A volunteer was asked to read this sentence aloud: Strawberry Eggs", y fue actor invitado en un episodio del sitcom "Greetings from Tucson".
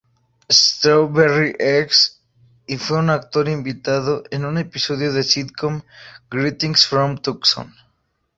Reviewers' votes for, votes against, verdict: 0, 2, rejected